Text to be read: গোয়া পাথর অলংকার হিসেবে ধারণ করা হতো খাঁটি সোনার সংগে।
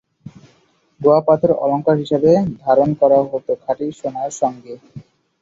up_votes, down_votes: 2, 0